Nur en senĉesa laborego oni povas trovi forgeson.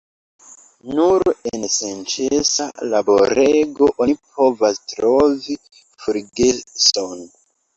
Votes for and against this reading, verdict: 2, 1, accepted